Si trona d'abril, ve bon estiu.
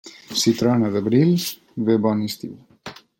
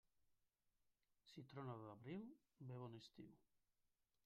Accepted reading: first